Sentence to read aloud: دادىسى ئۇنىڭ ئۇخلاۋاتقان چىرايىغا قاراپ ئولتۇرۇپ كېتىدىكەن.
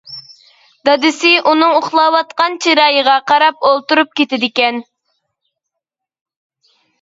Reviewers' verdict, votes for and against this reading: accepted, 2, 0